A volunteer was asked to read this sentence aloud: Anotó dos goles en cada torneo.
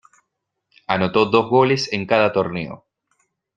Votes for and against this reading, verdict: 3, 1, accepted